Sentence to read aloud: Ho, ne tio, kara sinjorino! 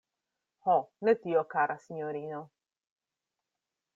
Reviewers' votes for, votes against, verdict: 2, 0, accepted